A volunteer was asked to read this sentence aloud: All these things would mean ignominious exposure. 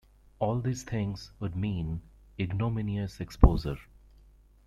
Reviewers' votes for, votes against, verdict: 0, 2, rejected